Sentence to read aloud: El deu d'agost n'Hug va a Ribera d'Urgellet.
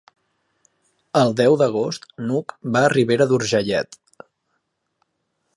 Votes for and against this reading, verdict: 3, 0, accepted